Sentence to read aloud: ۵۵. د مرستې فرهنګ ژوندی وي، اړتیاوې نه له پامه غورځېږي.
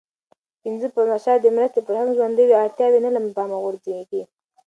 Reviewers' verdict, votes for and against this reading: rejected, 0, 2